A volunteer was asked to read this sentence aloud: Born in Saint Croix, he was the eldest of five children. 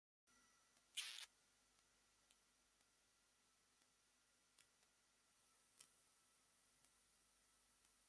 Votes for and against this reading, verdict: 0, 2, rejected